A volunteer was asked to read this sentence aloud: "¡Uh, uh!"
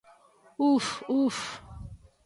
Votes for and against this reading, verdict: 0, 2, rejected